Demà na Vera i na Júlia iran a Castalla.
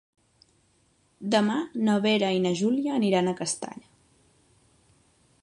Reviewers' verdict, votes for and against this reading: rejected, 1, 2